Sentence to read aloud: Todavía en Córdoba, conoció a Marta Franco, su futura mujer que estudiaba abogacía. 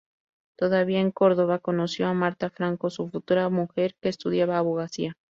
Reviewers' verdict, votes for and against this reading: accepted, 2, 0